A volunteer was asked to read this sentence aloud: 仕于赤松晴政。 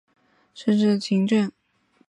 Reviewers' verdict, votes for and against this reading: accepted, 2, 1